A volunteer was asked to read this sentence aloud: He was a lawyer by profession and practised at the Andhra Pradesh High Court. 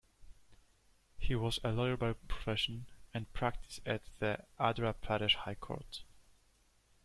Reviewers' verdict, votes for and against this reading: accepted, 2, 0